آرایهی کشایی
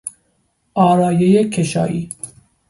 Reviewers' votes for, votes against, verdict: 2, 0, accepted